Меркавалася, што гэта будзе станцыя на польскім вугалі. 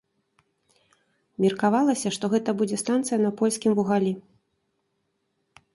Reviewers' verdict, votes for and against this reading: rejected, 1, 2